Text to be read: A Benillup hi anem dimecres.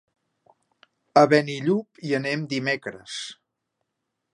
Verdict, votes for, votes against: accepted, 4, 0